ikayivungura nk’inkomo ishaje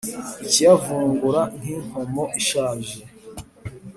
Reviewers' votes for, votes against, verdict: 4, 0, accepted